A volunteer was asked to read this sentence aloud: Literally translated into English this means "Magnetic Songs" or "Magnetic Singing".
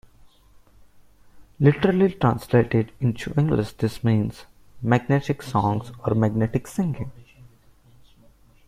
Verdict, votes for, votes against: accepted, 2, 0